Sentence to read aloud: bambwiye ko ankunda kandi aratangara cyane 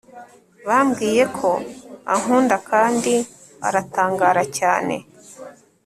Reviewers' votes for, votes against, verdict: 3, 0, accepted